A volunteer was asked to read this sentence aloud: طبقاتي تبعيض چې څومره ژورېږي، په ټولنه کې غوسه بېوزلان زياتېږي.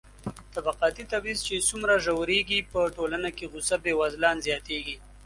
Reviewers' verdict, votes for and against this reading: accepted, 2, 0